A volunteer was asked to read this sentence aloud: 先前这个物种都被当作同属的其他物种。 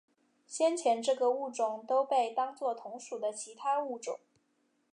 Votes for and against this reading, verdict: 2, 0, accepted